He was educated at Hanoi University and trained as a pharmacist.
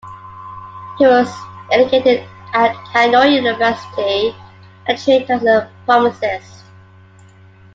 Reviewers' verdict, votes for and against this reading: accepted, 2, 1